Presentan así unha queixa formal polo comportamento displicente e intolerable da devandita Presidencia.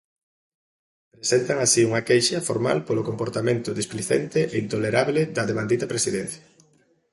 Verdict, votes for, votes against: accepted, 2, 0